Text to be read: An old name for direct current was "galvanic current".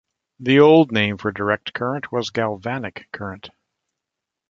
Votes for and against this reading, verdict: 1, 2, rejected